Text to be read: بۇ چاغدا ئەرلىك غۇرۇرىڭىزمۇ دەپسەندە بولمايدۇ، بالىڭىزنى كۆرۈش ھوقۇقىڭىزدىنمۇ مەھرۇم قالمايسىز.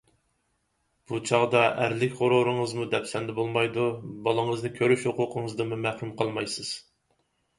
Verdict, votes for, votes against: accepted, 4, 0